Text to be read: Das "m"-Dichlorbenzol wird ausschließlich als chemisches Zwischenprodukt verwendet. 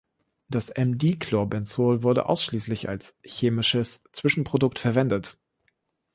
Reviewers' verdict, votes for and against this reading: rejected, 1, 2